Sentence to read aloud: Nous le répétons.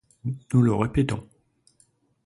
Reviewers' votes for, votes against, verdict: 2, 0, accepted